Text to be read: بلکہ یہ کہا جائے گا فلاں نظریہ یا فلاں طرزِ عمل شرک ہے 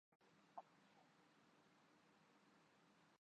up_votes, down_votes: 1, 5